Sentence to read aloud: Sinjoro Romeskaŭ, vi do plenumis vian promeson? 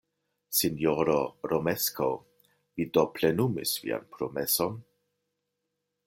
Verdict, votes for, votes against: accepted, 2, 1